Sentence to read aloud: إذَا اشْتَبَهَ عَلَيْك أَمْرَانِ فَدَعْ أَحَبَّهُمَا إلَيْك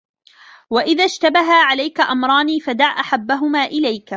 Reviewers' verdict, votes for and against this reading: rejected, 1, 2